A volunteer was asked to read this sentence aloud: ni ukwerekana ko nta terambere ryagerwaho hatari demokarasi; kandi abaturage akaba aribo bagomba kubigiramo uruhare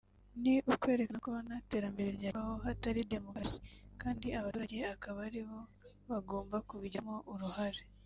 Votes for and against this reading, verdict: 0, 2, rejected